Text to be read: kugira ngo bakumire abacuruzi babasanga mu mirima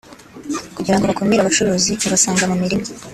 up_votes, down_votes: 2, 1